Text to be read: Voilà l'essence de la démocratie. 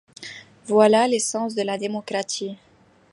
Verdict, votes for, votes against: accepted, 2, 1